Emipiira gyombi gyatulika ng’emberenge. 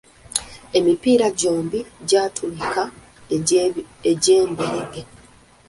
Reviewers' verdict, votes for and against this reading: rejected, 0, 2